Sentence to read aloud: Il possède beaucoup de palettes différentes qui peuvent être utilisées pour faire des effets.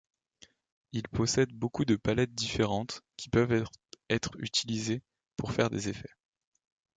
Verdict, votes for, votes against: rejected, 1, 2